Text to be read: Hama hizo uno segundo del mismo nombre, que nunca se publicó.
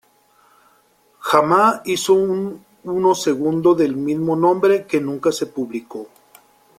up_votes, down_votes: 0, 2